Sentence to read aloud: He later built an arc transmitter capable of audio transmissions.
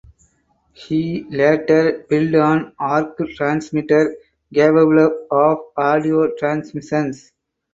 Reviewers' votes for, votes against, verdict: 0, 4, rejected